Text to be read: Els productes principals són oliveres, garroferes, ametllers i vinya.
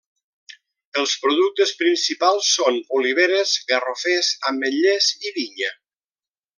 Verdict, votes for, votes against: rejected, 1, 2